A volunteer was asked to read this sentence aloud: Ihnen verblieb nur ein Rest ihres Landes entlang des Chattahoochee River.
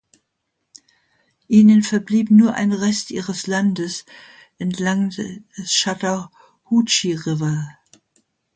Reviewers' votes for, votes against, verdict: 0, 2, rejected